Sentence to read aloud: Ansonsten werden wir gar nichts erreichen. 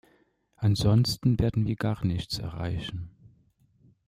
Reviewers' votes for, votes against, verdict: 2, 0, accepted